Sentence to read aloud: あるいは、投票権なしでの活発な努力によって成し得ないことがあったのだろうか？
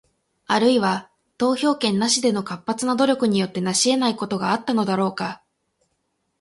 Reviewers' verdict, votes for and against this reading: accepted, 8, 0